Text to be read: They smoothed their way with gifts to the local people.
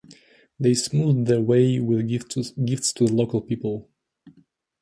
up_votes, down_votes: 1, 2